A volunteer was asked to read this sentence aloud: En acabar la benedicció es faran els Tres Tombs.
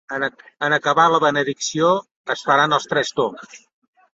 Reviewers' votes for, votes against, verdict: 2, 1, accepted